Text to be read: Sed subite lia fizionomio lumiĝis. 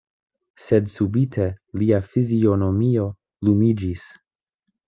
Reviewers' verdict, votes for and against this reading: accepted, 2, 0